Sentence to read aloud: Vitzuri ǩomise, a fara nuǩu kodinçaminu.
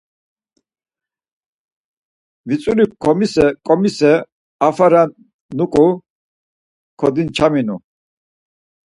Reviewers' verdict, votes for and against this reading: rejected, 0, 4